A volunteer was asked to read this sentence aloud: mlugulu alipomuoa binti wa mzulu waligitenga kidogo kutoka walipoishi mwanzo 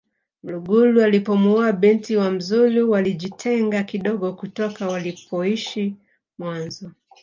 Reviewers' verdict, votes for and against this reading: accepted, 2, 1